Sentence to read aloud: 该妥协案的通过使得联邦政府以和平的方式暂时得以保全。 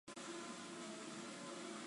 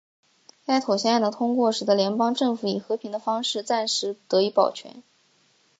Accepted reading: second